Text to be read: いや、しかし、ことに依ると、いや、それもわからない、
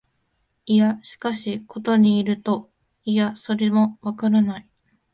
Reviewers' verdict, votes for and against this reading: accepted, 2, 0